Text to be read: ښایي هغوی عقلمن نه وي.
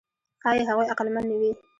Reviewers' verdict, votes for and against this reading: accepted, 2, 0